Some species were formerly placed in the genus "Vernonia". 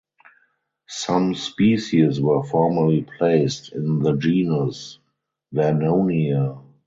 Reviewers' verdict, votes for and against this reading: accepted, 4, 0